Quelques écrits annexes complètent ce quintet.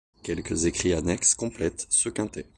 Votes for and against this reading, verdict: 2, 1, accepted